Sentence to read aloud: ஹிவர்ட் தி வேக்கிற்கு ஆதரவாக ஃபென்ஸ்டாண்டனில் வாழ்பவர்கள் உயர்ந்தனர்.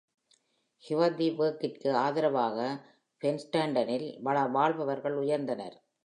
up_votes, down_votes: 0, 2